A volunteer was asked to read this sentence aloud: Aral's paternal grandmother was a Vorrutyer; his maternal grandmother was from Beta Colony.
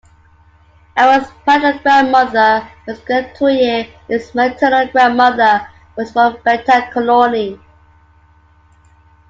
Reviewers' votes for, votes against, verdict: 2, 1, accepted